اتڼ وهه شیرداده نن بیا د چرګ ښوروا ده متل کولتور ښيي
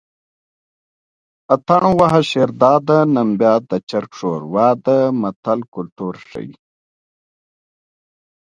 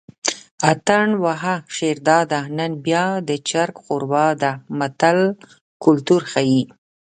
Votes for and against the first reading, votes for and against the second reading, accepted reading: 2, 1, 1, 2, first